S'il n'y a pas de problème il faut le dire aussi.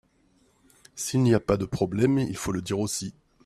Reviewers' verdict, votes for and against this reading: accepted, 2, 0